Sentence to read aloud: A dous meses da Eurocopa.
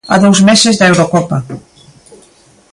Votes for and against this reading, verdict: 2, 0, accepted